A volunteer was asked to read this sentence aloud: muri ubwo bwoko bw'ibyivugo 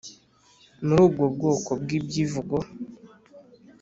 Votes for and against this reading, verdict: 2, 0, accepted